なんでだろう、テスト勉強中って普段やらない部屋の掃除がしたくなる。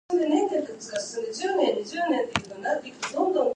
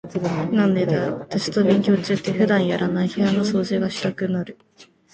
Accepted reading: second